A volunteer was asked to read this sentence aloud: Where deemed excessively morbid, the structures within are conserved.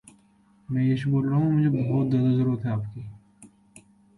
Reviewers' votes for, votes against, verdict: 0, 2, rejected